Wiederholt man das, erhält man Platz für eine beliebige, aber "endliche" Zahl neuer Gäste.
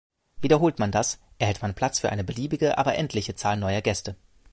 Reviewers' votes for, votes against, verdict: 3, 0, accepted